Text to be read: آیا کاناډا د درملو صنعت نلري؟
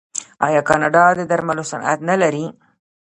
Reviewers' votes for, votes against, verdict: 2, 0, accepted